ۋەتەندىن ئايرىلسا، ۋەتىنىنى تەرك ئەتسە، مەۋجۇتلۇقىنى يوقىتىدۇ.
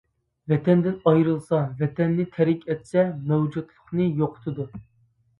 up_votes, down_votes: 0, 2